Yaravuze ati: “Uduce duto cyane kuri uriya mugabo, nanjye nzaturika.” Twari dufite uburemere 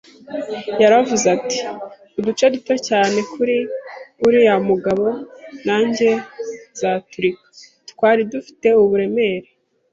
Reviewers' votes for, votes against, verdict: 2, 0, accepted